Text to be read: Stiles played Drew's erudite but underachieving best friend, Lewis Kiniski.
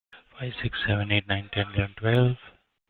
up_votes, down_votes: 0, 2